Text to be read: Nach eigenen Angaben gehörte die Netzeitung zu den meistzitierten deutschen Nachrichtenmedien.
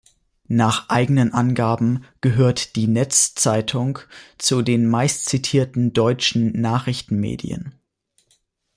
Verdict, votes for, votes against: rejected, 0, 2